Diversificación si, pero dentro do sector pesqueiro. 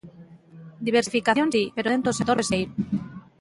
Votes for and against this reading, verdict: 0, 2, rejected